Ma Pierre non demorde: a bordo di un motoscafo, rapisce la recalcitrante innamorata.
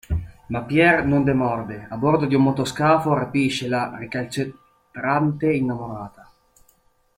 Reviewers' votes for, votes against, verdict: 0, 2, rejected